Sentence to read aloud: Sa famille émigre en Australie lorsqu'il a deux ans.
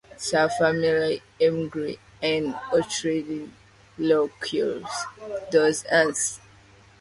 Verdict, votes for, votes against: rejected, 0, 2